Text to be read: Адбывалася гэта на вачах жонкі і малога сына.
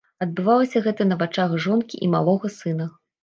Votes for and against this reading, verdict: 2, 0, accepted